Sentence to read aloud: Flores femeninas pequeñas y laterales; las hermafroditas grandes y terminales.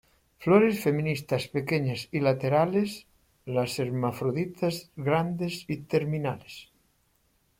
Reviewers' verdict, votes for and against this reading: rejected, 1, 2